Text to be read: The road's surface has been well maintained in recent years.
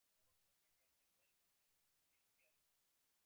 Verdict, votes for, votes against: rejected, 0, 2